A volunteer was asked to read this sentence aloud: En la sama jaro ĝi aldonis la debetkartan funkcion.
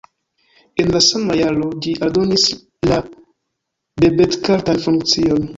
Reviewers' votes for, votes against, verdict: 2, 1, accepted